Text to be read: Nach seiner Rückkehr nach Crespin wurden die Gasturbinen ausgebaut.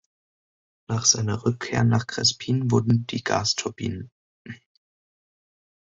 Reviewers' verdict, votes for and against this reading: rejected, 0, 2